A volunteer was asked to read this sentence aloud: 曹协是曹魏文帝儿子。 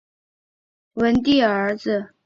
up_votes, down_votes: 0, 2